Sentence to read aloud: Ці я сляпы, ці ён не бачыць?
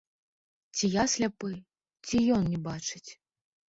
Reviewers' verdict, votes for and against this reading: rejected, 0, 2